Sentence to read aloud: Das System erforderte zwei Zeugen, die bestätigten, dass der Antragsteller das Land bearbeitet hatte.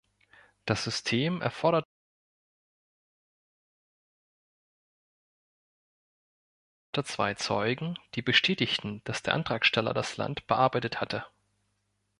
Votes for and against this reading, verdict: 1, 2, rejected